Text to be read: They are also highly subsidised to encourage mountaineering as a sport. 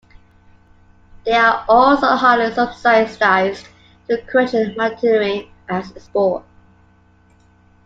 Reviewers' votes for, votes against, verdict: 1, 2, rejected